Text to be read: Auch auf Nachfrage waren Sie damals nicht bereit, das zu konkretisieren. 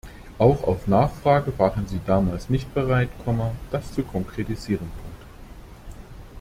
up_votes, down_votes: 0, 2